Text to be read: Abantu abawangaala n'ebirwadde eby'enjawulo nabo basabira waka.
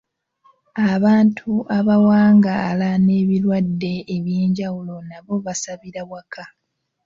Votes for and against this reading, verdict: 2, 0, accepted